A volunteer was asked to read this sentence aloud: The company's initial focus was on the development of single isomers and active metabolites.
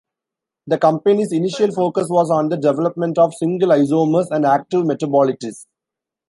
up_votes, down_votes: 0, 2